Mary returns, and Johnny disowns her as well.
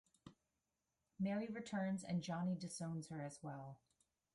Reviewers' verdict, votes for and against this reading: accepted, 2, 1